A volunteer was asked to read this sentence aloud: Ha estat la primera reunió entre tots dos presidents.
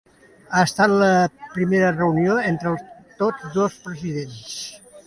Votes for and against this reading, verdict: 2, 0, accepted